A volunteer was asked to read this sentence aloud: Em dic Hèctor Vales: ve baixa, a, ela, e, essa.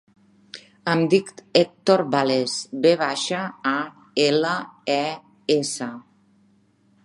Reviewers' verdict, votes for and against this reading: rejected, 0, 2